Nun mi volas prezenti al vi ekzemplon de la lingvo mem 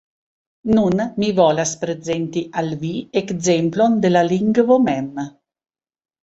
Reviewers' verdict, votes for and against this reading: accepted, 2, 0